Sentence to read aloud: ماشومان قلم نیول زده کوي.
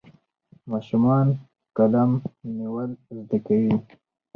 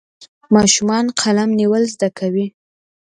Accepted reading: second